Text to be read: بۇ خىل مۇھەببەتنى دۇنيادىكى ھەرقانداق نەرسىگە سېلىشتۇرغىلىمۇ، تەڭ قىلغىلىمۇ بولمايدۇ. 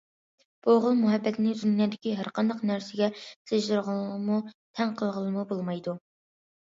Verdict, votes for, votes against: rejected, 0, 2